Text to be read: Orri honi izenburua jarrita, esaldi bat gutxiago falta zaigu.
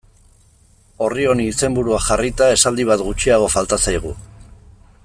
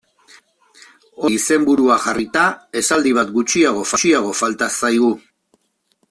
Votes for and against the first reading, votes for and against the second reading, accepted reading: 2, 0, 1, 2, first